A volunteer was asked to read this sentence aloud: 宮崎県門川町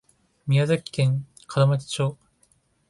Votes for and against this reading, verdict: 0, 2, rejected